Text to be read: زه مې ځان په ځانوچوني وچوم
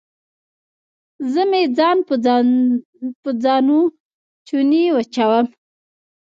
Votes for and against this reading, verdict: 1, 2, rejected